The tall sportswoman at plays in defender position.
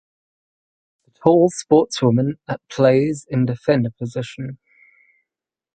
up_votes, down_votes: 2, 4